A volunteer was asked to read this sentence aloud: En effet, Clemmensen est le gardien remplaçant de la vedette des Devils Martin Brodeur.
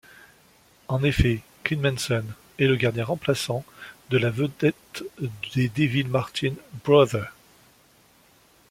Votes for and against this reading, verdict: 1, 2, rejected